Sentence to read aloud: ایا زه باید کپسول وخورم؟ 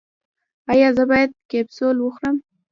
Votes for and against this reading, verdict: 3, 1, accepted